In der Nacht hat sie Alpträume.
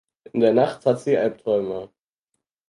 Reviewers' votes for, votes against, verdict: 4, 0, accepted